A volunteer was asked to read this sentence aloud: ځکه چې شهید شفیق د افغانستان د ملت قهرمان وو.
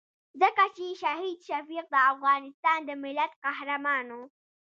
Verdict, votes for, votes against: accepted, 2, 0